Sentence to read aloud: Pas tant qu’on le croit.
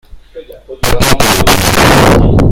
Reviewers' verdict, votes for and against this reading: rejected, 0, 2